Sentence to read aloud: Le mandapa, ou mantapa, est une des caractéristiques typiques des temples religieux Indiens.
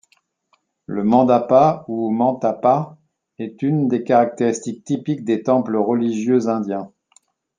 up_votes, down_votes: 2, 0